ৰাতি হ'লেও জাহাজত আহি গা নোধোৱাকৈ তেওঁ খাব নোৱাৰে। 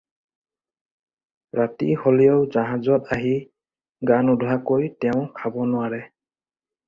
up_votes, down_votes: 4, 0